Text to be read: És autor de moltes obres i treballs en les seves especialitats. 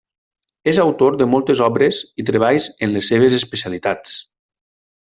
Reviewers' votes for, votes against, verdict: 3, 0, accepted